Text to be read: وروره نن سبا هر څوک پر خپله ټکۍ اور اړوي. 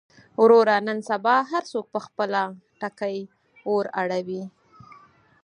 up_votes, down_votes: 4, 0